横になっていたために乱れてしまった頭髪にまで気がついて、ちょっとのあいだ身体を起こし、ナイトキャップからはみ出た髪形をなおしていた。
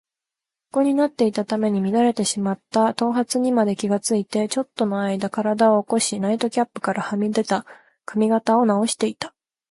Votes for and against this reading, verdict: 2, 0, accepted